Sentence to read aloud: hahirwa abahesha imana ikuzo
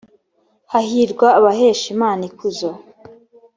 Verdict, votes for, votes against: accepted, 3, 0